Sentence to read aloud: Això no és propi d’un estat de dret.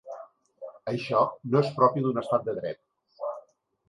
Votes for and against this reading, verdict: 3, 0, accepted